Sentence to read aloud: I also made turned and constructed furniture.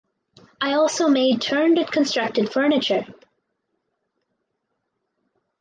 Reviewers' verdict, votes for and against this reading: accepted, 4, 0